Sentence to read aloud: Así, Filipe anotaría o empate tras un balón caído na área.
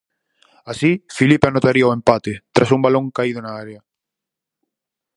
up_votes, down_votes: 4, 0